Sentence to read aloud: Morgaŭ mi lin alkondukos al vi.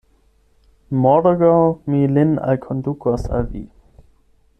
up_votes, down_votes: 8, 0